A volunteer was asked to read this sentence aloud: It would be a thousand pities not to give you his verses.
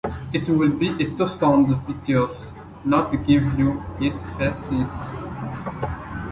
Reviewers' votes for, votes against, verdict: 0, 2, rejected